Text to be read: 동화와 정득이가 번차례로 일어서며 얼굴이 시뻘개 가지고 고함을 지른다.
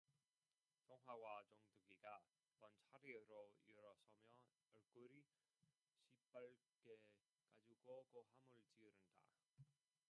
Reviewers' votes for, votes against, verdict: 0, 2, rejected